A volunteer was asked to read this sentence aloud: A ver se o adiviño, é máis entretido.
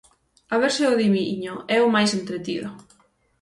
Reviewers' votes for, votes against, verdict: 0, 6, rejected